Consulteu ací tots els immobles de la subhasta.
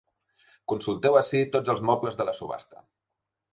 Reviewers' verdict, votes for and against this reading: rejected, 0, 2